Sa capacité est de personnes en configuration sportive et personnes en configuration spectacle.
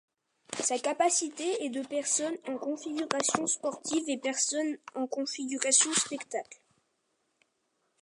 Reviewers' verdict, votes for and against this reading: accepted, 2, 1